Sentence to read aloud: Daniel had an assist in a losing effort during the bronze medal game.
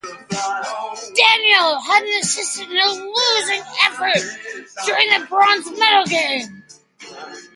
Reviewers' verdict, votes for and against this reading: accepted, 2, 0